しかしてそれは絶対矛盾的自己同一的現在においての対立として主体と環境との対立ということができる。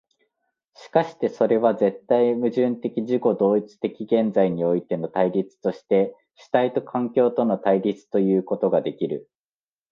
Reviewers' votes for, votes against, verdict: 2, 0, accepted